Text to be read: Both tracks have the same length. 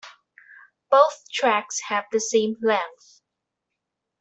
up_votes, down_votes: 2, 1